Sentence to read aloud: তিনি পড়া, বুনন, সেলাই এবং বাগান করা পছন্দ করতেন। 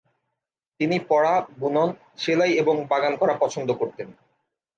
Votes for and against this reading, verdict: 2, 0, accepted